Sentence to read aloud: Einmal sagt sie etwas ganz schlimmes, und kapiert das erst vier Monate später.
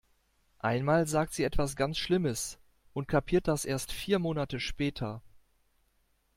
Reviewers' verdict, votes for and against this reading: accepted, 2, 0